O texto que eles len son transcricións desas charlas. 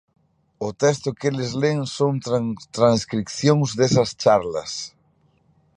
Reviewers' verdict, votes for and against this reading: rejected, 0, 2